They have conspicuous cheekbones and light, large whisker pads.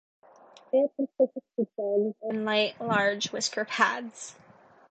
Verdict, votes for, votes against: rejected, 0, 2